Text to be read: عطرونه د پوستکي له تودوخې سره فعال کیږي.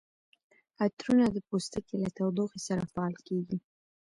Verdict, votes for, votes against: accepted, 2, 0